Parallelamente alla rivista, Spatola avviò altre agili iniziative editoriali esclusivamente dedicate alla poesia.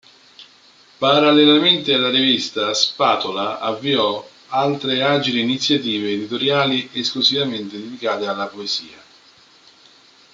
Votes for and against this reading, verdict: 1, 2, rejected